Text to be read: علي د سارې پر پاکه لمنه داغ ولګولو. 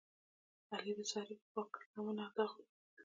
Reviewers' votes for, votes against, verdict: 0, 2, rejected